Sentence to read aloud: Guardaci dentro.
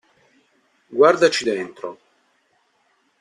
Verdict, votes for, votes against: accepted, 2, 0